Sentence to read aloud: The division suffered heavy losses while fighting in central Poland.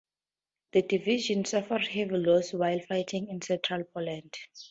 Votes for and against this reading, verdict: 2, 2, rejected